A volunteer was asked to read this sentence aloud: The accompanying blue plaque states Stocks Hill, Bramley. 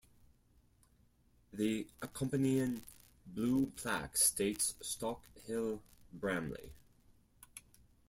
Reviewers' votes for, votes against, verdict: 0, 4, rejected